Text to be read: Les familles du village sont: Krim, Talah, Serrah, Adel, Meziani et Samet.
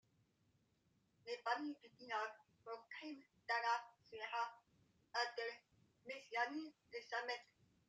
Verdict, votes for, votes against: accepted, 2, 1